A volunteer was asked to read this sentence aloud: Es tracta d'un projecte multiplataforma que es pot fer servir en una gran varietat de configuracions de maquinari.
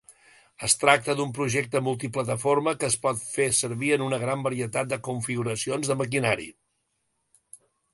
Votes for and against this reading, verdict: 2, 0, accepted